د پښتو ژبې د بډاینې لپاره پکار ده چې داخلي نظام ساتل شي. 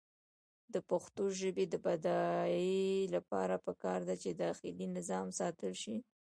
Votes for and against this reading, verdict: 1, 2, rejected